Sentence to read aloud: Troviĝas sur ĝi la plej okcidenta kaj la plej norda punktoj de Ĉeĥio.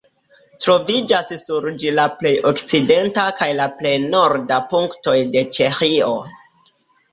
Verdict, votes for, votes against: accepted, 2, 0